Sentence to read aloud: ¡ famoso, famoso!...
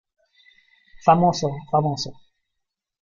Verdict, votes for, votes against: accepted, 2, 1